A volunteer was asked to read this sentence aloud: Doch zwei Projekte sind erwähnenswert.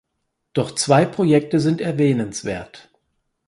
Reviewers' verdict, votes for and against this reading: accepted, 4, 0